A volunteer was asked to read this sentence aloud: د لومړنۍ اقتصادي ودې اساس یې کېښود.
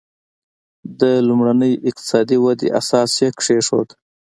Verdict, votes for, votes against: accepted, 2, 1